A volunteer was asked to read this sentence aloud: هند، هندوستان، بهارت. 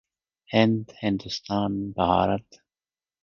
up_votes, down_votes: 2, 0